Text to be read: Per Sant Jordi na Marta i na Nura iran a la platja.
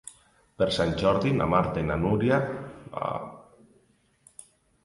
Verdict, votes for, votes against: rejected, 0, 2